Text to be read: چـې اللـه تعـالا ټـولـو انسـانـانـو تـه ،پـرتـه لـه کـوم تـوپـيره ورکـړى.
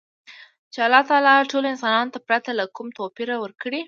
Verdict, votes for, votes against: accepted, 2, 0